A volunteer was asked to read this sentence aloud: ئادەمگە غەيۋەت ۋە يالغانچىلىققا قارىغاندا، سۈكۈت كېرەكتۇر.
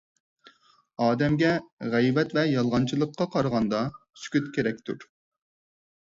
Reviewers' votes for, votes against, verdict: 4, 0, accepted